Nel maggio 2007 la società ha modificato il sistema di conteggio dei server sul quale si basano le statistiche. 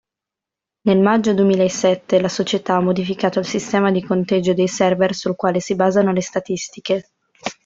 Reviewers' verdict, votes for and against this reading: rejected, 0, 2